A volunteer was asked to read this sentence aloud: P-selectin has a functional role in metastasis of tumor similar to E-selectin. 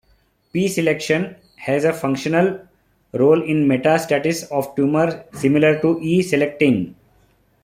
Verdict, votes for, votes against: accepted, 2, 0